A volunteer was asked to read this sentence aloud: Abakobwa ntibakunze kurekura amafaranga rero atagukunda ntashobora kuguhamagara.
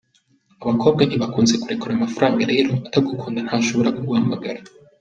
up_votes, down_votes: 2, 0